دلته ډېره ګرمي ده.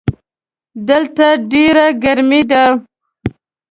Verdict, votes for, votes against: accepted, 2, 0